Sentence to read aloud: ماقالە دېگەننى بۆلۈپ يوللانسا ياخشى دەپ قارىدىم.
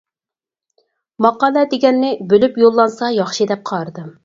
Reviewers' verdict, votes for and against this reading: accepted, 4, 0